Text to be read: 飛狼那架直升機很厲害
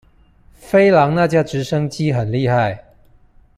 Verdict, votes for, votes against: accepted, 2, 0